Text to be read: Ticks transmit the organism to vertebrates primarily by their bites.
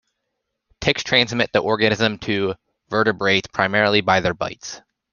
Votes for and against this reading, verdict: 1, 2, rejected